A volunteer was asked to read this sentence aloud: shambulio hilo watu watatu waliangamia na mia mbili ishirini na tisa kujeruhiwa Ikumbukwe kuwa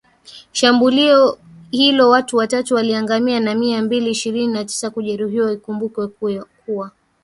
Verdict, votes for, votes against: accepted, 2, 1